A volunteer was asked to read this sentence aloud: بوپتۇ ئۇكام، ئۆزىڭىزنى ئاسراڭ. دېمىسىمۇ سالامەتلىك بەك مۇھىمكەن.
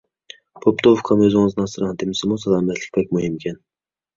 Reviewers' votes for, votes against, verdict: 1, 2, rejected